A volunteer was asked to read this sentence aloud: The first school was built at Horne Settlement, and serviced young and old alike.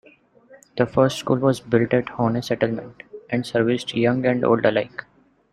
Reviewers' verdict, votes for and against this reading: accepted, 2, 0